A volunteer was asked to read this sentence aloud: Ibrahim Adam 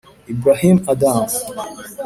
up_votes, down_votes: 3, 0